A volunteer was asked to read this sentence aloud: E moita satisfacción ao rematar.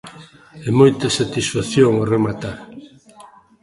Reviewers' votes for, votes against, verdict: 1, 2, rejected